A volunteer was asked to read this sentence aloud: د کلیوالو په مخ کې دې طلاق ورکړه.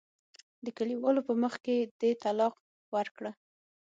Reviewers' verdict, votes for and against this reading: accepted, 6, 0